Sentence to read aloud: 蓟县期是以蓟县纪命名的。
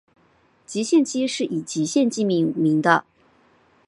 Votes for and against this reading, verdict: 5, 0, accepted